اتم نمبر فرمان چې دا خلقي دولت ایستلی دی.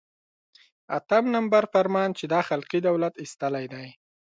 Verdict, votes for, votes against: accepted, 2, 0